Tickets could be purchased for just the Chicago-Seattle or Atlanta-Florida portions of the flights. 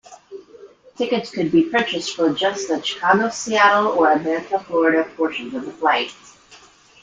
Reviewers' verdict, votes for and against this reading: rejected, 1, 2